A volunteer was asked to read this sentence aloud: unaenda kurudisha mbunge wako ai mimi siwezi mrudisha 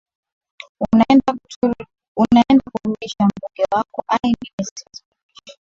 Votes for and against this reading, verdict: 0, 2, rejected